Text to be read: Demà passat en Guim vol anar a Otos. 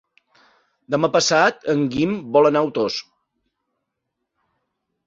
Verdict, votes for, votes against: rejected, 1, 2